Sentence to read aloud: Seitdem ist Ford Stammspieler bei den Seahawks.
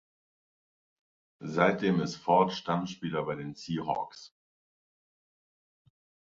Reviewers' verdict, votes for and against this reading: accepted, 2, 0